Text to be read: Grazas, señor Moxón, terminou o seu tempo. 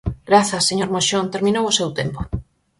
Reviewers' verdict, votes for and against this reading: accepted, 4, 0